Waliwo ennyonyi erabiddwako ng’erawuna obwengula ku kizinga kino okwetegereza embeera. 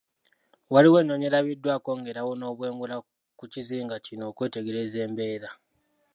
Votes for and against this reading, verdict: 0, 2, rejected